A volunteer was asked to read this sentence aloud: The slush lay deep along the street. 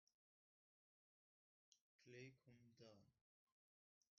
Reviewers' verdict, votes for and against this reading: rejected, 1, 2